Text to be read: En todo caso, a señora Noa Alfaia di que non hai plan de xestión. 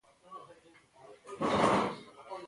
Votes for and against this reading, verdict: 0, 2, rejected